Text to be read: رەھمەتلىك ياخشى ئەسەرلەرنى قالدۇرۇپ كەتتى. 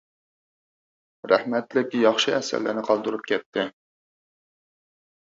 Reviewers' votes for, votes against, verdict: 4, 0, accepted